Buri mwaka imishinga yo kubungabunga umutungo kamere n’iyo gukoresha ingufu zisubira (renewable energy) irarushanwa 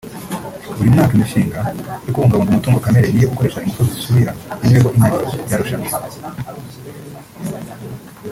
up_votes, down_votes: 1, 2